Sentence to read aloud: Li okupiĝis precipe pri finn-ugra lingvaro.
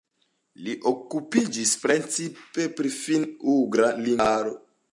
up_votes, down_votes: 0, 2